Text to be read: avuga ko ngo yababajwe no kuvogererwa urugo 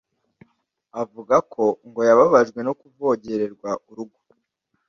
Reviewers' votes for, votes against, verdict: 2, 0, accepted